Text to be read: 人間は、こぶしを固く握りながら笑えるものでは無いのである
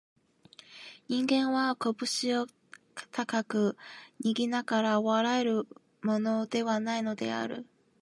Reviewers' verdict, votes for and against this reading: rejected, 1, 2